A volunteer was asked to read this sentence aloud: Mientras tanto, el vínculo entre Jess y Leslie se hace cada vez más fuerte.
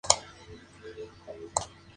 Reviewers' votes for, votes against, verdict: 0, 4, rejected